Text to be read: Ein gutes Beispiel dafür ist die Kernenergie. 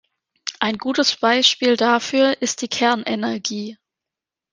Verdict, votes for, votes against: accepted, 2, 0